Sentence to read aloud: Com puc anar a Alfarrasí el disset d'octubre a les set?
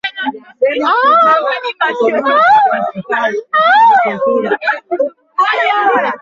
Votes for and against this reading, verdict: 0, 2, rejected